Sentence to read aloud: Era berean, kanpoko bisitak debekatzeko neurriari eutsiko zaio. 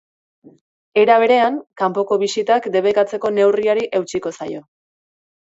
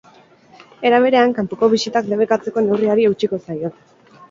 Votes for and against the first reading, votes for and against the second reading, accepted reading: 3, 0, 2, 4, first